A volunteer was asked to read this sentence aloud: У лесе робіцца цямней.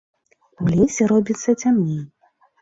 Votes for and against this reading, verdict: 2, 0, accepted